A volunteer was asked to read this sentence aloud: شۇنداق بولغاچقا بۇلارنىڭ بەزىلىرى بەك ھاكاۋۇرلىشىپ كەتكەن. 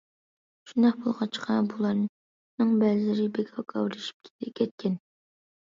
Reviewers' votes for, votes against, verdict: 0, 2, rejected